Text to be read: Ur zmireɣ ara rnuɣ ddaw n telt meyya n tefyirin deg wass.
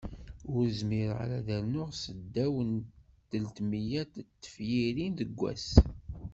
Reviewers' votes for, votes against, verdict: 0, 2, rejected